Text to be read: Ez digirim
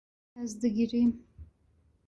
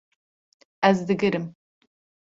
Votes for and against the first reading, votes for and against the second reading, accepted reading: 0, 2, 2, 0, second